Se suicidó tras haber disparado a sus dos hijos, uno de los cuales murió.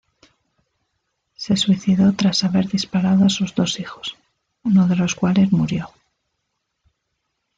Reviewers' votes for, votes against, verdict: 2, 0, accepted